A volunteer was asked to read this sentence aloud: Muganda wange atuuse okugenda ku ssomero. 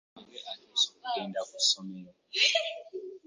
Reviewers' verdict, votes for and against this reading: rejected, 0, 2